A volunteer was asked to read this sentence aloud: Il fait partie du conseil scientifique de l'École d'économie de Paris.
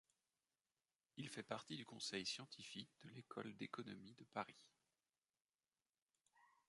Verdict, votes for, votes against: accepted, 3, 2